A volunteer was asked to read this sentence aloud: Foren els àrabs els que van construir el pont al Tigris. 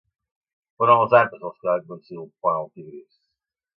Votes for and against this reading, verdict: 0, 2, rejected